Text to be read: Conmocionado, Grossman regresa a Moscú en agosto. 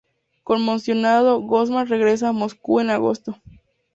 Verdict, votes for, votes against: accepted, 2, 0